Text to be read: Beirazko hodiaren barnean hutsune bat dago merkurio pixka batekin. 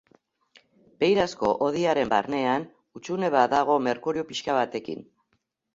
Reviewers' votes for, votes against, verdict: 3, 0, accepted